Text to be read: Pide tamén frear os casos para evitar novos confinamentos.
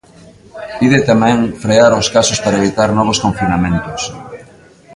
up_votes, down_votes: 2, 0